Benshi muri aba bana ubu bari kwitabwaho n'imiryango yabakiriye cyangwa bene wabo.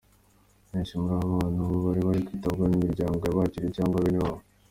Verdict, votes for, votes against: accepted, 2, 1